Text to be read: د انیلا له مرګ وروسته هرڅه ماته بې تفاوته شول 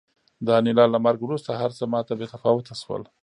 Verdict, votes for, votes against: accepted, 3, 0